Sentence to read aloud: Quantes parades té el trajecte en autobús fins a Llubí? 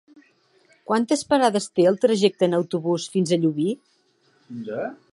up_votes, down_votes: 3, 0